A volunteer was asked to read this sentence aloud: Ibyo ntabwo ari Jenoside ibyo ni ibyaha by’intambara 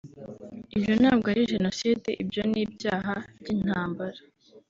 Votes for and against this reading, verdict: 3, 0, accepted